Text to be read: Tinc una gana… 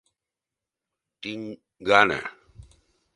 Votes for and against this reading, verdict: 0, 2, rejected